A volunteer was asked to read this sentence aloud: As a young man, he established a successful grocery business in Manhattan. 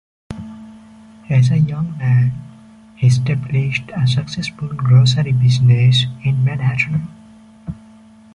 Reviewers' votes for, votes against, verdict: 2, 0, accepted